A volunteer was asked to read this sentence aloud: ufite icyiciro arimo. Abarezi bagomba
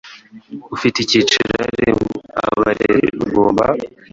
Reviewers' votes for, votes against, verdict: 1, 2, rejected